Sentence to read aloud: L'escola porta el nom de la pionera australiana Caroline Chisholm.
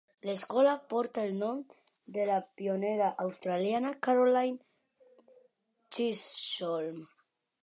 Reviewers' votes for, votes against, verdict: 3, 0, accepted